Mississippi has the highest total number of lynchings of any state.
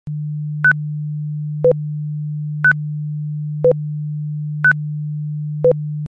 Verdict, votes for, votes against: rejected, 0, 2